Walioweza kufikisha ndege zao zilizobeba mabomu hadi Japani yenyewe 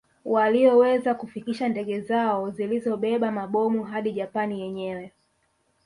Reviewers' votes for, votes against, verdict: 1, 2, rejected